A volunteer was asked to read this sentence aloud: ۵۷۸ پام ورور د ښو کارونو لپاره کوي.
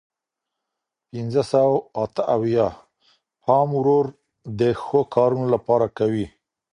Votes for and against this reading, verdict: 0, 2, rejected